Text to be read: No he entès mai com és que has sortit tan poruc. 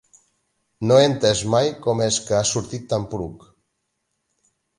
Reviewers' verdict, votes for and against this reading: accepted, 2, 0